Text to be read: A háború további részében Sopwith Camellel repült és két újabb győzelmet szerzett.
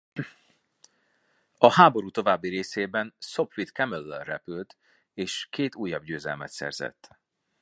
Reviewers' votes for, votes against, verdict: 2, 0, accepted